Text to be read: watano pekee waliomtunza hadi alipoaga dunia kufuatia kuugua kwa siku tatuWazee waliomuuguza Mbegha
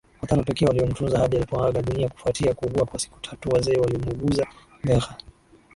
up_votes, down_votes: 2, 3